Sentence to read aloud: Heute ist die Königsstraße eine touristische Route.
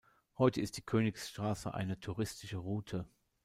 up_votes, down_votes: 1, 2